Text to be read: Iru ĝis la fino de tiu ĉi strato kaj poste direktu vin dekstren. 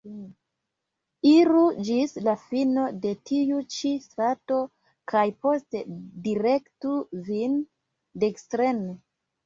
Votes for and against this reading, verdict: 1, 2, rejected